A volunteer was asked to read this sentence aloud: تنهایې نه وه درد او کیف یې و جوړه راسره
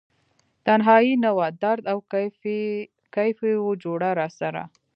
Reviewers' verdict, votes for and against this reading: accepted, 2, 0